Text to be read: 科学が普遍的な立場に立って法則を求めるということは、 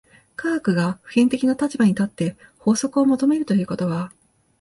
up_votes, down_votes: 2, 0